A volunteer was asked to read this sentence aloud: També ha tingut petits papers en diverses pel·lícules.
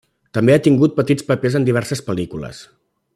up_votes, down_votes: 3, 0